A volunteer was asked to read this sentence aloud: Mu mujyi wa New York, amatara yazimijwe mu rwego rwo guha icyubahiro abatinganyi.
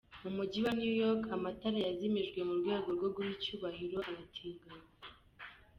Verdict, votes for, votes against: accepted, 2, 0